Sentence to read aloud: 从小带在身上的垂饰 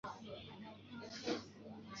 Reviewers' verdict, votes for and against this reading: rejected, 0, 3